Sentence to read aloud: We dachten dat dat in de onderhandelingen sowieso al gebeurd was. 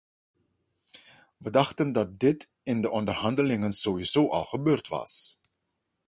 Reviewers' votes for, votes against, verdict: 0, 2, rejected